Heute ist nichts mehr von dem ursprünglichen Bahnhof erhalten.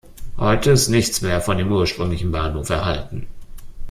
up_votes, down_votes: 2, 0